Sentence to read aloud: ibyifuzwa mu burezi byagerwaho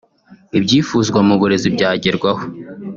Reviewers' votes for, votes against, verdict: 2, 0, accepted